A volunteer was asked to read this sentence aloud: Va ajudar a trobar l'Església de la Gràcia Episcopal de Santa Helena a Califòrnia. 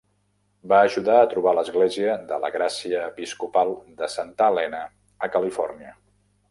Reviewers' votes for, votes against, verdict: 2, 0, accepted